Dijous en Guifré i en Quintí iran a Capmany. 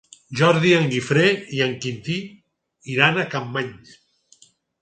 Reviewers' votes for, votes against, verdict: 2, 4, rejected